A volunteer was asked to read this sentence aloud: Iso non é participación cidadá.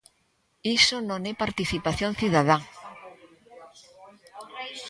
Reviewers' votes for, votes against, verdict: 1, 2, rejected